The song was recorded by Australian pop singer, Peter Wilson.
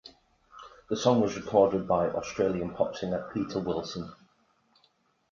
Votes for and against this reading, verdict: 2, 0, accepted